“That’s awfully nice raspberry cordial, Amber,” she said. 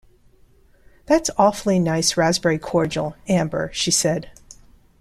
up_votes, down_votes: 2, 0